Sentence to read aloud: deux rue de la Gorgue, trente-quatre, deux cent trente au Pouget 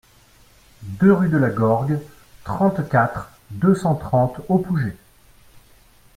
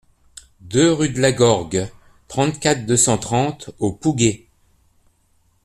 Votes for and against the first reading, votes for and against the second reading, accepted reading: 2, 1, 0, 2, first